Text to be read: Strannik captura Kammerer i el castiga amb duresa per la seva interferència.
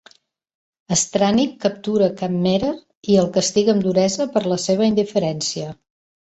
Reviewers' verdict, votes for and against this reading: rejected, 0, 2